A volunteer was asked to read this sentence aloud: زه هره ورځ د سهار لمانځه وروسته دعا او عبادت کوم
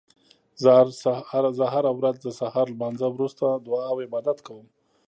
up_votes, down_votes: 0, 2